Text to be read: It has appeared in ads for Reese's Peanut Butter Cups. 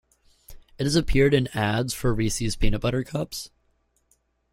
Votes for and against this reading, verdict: 2, 0, accepted